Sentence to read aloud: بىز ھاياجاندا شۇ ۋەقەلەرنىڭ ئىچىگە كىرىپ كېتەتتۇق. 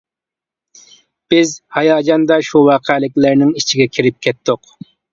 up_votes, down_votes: 0, 2